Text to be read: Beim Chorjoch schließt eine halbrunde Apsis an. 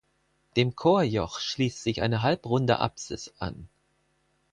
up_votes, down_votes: 0, 4